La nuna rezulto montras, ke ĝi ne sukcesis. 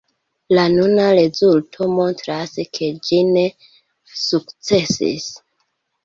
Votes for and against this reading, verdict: 2, 1, accepted